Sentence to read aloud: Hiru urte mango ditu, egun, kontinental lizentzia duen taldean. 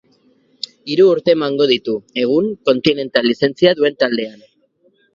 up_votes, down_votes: 2, 2